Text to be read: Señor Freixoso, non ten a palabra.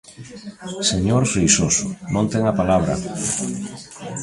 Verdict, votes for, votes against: accepted, 2, 0